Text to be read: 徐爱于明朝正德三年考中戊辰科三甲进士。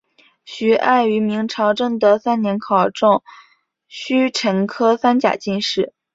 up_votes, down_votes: 5, 0